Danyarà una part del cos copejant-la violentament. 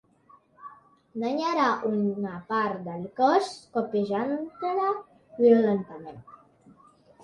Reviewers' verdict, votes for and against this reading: rejected, 0, 2